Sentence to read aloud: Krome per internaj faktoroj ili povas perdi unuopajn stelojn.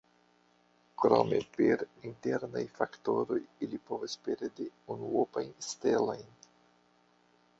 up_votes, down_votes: 2, 1